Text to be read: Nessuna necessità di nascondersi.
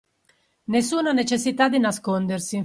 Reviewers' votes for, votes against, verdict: 2, 0, accepted